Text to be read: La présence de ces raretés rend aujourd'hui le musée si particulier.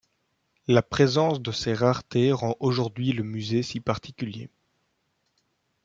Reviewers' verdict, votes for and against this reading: accepted, 2, 0